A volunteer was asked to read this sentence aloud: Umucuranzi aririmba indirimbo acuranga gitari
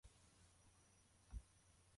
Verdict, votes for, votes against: rejected, 0, 2